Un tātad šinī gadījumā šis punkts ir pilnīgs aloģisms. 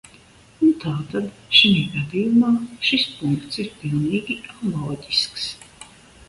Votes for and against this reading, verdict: 0, 2, rejected